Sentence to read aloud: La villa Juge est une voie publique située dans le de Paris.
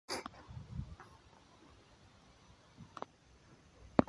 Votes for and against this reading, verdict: 0, 2, rejected